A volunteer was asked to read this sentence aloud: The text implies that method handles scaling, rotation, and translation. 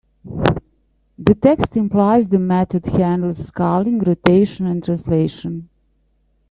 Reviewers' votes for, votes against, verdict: 0, 2, rejected